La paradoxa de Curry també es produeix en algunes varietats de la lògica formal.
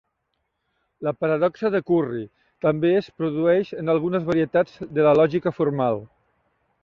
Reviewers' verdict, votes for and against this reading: accepted, 2, 0